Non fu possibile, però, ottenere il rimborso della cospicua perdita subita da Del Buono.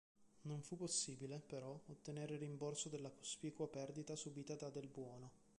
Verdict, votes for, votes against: rejected, 0, 2